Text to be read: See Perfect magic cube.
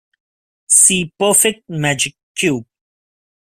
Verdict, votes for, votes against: accepted, 2, 0